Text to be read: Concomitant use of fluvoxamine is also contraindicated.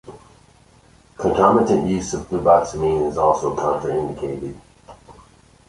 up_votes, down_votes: 0, 2